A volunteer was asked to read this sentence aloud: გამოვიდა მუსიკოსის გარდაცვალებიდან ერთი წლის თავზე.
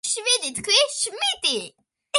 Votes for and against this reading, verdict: 0, 2, rejected